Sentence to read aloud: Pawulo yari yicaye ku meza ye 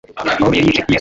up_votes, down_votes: 0, 2